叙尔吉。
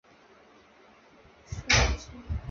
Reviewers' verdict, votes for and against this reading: accepted, 2, 1